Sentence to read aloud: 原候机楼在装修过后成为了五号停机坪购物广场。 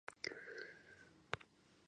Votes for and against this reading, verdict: 2, 0, accepted